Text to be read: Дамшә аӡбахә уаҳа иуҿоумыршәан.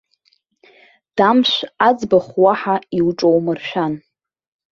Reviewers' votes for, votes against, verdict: 3, 0, accepted